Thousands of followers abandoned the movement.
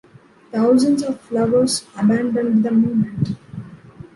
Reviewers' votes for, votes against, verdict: 0, 2, rejected